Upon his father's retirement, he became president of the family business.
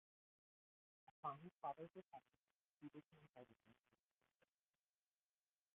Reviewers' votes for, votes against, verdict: 0, 2, rejected